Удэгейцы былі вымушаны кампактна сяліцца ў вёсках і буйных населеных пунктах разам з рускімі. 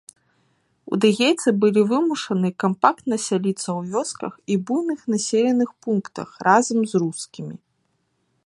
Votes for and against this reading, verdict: 1, 2, rejected